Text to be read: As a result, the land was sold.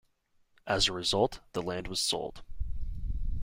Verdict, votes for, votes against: accepted, 2, 0